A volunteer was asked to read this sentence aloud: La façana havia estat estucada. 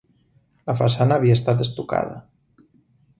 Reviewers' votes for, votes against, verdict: 4, 0, accepted